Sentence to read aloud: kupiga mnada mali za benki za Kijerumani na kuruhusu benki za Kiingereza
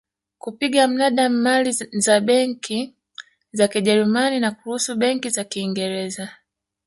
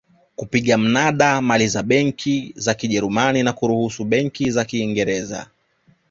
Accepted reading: second